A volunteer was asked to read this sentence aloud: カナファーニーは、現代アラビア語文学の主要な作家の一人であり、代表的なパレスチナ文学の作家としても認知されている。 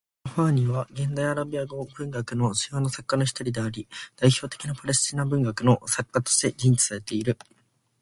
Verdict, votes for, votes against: accepted, 2, 0